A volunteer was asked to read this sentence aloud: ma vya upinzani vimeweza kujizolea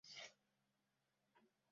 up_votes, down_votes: 0, 2